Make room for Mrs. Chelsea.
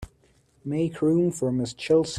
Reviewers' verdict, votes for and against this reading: rejected, 0, 2